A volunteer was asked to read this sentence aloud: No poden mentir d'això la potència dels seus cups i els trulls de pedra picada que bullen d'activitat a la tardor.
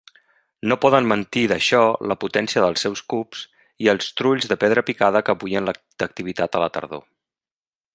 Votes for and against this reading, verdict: 1, 2, rejected